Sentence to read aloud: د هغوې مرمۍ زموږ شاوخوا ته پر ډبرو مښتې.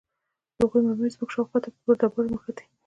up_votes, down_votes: 0, 2